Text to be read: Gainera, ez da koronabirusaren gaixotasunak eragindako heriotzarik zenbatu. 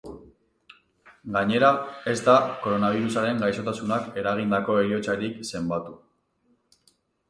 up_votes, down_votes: 2, 2